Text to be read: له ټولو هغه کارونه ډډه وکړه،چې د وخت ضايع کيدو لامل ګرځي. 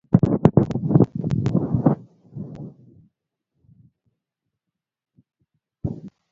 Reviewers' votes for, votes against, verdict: 0, 2, rejected